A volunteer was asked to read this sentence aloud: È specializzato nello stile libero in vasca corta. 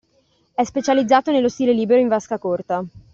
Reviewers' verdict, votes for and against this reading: accepted, 2, 0